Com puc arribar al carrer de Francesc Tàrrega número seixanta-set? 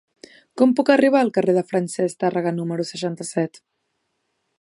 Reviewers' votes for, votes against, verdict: 2, 0, accepted